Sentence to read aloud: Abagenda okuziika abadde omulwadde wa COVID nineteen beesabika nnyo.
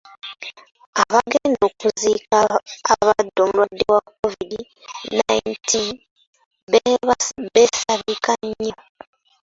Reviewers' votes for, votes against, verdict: 0, 2, rejected